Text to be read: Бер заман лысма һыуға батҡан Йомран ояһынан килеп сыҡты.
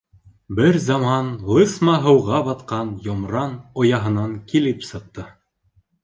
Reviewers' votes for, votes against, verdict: 2, 0, accepted